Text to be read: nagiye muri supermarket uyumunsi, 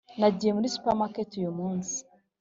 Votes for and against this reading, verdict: 3, 0, accepted